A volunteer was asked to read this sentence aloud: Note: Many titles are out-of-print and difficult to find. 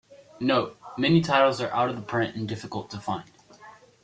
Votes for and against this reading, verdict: 2, 1, accepted